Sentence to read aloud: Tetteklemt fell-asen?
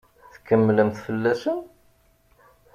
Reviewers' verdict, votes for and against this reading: rejected, 1, 2